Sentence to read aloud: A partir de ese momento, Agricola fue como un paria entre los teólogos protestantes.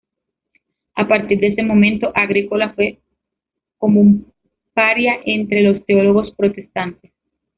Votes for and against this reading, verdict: 1, 2, rejected